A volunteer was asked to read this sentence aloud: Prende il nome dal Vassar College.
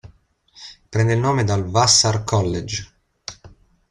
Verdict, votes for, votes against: accepted, 2, 0